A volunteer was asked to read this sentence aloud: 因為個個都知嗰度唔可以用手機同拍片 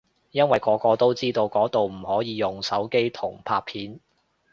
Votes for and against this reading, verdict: 0, 2, rejected